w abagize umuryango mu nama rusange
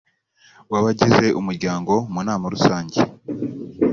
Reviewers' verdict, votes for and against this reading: accepted, 2, 0